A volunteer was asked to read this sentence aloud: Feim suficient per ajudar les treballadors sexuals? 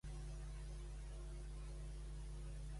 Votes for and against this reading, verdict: 0, 2, rejected